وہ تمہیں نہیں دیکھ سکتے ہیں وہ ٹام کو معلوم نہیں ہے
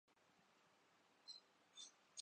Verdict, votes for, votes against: rejected, 0, 3